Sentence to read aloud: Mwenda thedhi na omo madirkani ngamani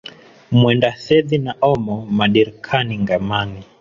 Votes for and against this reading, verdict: 2, 1, accepted